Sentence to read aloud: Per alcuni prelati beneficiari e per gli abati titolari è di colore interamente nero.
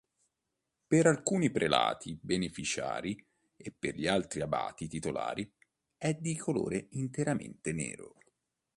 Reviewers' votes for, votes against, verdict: 1, 2, rejected